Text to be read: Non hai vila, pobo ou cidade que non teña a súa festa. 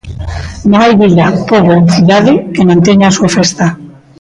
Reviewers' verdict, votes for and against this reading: rejected, 0, 2